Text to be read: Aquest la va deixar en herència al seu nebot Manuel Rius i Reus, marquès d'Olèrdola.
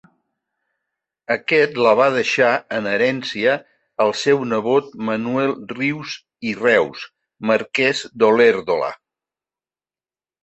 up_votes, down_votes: 4, 2